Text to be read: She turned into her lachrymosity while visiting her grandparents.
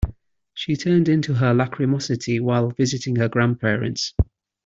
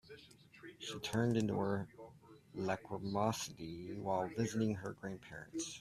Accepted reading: first